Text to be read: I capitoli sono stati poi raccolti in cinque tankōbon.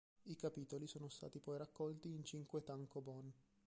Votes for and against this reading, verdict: 0, 2, rejected